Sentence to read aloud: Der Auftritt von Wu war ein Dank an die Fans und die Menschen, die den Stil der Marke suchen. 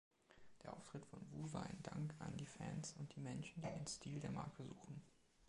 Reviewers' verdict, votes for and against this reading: accepted, 2, 0